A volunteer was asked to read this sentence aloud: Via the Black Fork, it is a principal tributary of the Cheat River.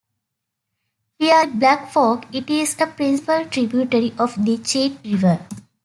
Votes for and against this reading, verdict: 0, 2, rejected